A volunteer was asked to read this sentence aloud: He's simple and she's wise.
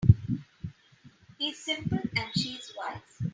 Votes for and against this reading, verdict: 3, 0, accepted